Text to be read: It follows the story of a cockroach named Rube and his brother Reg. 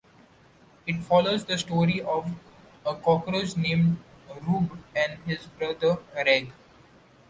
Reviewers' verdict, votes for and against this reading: accepted, 2, 0